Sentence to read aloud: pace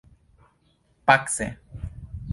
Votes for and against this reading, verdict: 2, 1, accepted